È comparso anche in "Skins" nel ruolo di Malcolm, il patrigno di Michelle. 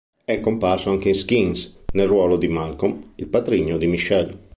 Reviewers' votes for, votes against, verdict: 2, 0, accepted